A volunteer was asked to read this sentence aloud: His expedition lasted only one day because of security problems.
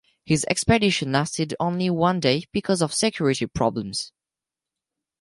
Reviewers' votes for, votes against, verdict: 6, 0, accepted